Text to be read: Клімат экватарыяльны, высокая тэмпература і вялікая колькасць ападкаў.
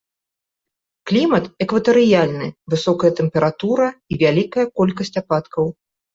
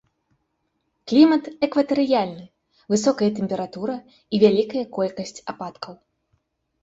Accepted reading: second